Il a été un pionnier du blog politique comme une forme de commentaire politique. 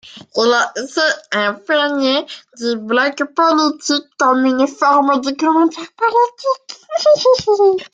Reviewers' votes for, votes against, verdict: 0, 2, rejected